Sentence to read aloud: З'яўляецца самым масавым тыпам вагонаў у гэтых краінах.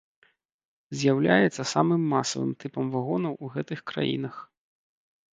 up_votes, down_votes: 2, 0